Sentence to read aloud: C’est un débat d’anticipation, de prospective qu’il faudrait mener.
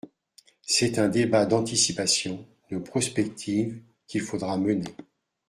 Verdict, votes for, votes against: rejected, 1, 2